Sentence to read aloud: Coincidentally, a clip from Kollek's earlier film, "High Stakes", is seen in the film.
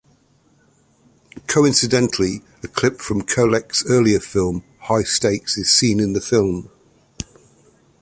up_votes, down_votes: 2, 0